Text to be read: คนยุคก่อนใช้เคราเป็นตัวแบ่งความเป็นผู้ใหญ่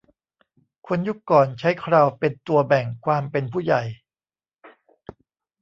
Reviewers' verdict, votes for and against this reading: accepted, 2, 1